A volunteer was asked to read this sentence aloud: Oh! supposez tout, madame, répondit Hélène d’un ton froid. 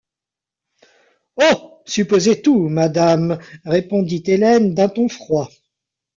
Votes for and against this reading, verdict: 1, 3, rejected